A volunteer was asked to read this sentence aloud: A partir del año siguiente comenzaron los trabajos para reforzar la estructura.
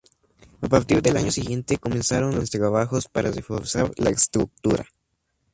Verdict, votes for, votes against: rejected, 0, 2